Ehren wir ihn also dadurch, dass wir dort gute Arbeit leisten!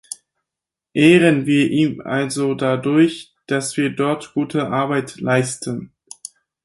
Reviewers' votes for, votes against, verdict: 4, 0, accepted